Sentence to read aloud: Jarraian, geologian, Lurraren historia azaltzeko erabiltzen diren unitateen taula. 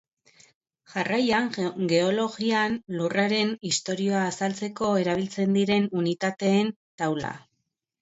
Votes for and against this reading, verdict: 2, 3, rejected